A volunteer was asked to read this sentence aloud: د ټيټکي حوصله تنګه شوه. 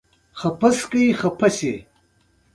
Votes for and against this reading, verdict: 2, 0, accepted